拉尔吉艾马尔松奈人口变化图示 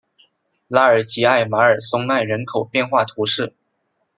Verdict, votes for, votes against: accepted, 2, 0